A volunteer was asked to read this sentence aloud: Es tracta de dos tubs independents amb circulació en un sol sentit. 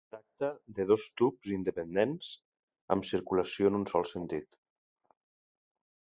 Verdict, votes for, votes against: rejected, 0, 2